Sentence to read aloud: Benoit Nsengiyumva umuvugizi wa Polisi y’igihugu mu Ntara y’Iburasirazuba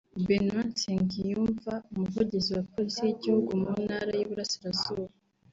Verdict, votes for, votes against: rejected, 0, 2